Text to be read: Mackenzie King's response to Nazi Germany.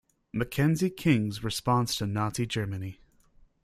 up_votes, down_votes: 2, 0